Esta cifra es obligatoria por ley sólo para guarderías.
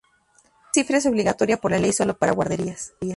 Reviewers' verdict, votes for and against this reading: rejected, 0, 2